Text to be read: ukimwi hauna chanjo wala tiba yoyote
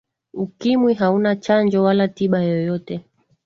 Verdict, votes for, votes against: accepted, 2, 0